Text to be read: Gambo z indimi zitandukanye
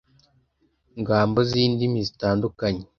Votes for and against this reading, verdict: 1, 2, rejected